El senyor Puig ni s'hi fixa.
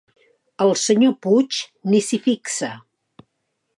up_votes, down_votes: 2, 0